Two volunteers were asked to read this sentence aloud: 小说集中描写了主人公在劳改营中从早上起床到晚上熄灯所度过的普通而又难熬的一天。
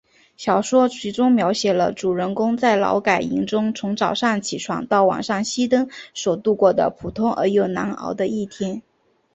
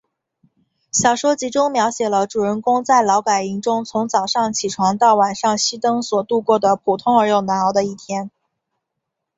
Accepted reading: first